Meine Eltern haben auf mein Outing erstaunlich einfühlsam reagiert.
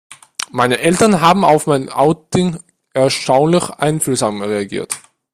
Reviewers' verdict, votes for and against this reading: accepted, 2, 0